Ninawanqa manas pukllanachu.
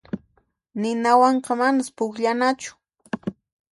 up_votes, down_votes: 2, 0